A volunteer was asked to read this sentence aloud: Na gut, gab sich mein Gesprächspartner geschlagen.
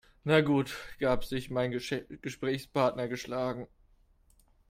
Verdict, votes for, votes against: rejected, 1, 2